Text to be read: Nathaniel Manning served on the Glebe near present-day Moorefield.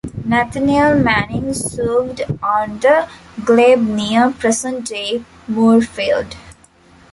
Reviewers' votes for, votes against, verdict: 1, 2, rejected